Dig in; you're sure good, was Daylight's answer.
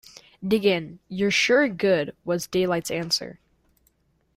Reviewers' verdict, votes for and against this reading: accepted, 2, 0